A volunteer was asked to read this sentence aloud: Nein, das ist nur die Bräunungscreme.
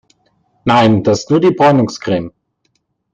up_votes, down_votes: 1, 2